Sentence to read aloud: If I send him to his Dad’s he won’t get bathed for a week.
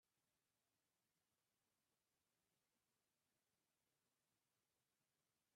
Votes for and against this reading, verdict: 0, 3, rejected